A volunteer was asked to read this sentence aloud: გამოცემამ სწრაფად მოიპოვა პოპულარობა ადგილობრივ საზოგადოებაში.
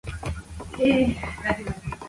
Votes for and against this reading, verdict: 0, 2, rejected